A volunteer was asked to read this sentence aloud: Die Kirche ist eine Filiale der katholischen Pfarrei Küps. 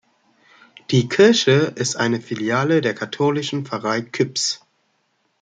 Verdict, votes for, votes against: accepted, 2, 0